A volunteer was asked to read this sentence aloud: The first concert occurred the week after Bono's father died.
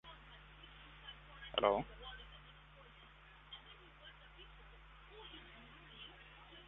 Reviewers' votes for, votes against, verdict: 0, 2, rejected